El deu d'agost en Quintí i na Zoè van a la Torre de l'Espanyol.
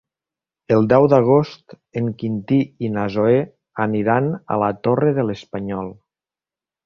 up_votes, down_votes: 0, 3